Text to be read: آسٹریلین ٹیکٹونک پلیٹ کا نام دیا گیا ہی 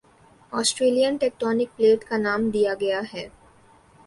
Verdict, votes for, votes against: accepted, 3, 1